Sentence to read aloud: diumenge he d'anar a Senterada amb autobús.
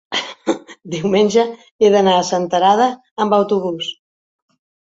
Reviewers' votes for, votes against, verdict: 3, 1, accepted